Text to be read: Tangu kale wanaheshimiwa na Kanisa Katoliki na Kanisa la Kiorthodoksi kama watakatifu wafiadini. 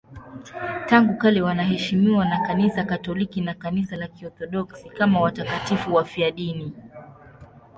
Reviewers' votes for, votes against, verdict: 2, 0, accepted